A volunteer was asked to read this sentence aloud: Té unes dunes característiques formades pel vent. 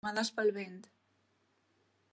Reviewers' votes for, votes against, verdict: 0, 2, rejected